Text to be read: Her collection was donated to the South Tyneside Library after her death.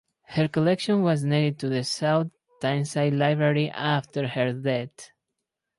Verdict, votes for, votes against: rejected, 0, 2